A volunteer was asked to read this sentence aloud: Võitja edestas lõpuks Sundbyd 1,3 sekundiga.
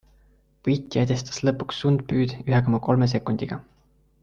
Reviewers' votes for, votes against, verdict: 0, 2, rejected